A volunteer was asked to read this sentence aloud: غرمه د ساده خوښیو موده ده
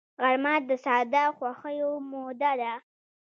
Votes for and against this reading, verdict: 1, 2, rejected